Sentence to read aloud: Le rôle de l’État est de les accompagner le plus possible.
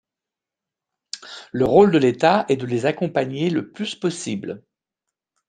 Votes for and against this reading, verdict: 2, 0, accepted